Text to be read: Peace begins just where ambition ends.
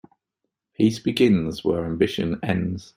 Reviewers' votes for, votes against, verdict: 1, 2, rejected